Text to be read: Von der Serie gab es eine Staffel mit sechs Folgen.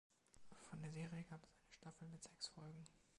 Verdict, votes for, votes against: rejected, 1, 2